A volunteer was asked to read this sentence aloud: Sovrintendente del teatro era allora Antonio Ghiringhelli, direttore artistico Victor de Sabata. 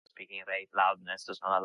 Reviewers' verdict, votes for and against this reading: rejected, 0, 2